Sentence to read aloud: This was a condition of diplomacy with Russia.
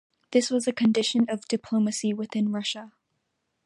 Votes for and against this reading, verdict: 0, 2, rejected